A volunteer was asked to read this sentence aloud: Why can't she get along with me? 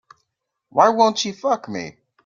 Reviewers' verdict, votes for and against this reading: rejected, 0, 2